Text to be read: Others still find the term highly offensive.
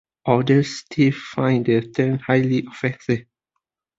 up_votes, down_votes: 1, 2